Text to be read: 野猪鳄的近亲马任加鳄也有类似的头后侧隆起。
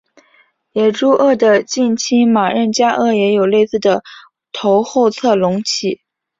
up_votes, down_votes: 3, 0